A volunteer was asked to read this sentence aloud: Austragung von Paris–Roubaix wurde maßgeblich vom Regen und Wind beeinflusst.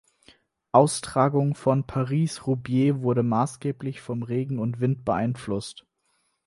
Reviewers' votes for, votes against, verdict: 0, 4, rejected